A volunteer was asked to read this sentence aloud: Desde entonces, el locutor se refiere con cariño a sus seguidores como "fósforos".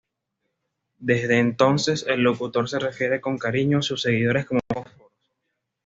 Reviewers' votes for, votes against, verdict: 1, 2, rejected